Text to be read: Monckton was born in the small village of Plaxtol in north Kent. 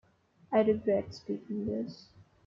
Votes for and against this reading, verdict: 0, 2, rejected